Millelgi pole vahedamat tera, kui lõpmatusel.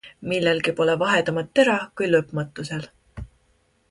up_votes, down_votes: 2, 0